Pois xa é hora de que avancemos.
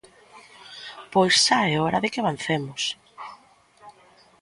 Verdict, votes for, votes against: accepted, 2, 1